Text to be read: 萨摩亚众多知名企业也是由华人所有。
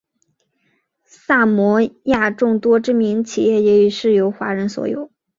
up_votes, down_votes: 0, 2